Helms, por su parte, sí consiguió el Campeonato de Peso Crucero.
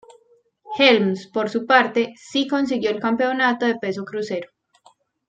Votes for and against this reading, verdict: 2, 0, accepted